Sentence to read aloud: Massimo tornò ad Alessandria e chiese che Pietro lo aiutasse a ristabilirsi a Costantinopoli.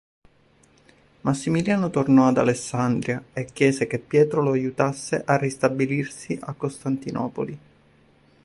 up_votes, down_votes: 1, 3